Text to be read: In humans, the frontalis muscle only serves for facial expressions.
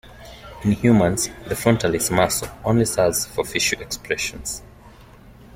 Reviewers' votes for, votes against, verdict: 2, 1, accepted